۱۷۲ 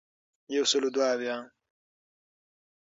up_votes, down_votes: 0, 2